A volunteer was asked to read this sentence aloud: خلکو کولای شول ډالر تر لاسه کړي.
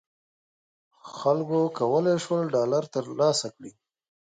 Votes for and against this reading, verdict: 2, 1, accepted